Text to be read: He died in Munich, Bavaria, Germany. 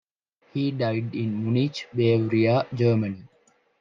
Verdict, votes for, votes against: rejected, 0, 2